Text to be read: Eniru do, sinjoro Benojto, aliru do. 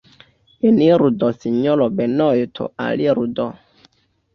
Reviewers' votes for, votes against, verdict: 1, 2, rejected